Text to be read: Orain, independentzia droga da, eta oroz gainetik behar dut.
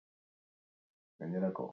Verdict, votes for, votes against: rejected, 0, 4